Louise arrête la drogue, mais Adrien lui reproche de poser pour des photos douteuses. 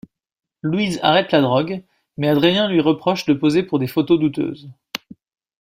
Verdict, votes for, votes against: accepted, 2, 0